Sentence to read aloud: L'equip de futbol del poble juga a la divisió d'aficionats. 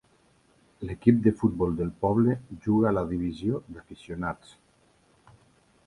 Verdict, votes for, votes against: accepted, 2, 1